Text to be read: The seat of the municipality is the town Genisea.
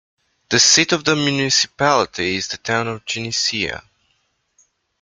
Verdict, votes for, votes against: rejected, 1, 2